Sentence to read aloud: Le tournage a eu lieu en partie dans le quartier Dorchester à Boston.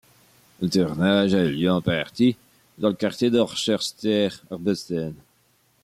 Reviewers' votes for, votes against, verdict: 0, 2, rejected